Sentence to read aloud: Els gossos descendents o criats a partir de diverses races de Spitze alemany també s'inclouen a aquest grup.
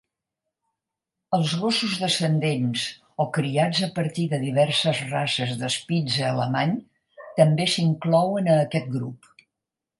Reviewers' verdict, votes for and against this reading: accepted, 4, 0